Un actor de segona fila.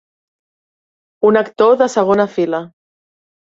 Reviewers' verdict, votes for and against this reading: accepted, 3, 0